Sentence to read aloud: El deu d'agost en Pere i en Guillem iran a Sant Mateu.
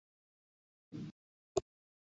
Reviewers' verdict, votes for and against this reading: rejected, 1, 2